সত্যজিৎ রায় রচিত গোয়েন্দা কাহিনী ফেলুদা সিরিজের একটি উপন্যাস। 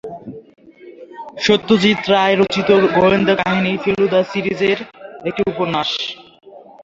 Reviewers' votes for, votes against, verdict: 2, 1, accepted